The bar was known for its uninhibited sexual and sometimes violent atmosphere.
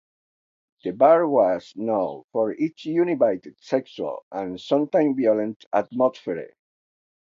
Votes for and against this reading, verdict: 0, 2, rejected